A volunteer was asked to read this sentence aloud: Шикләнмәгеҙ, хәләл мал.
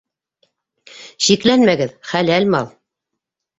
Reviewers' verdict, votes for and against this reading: accepted, 2, 0